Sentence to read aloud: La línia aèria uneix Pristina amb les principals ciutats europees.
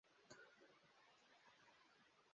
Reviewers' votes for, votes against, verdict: 0, 2, rejected